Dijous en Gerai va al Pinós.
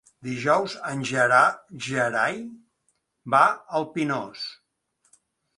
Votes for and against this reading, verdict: 1, 2, rejected